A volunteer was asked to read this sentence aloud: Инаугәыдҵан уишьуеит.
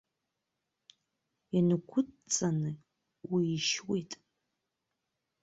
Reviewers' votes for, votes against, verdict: 0, 2, rejected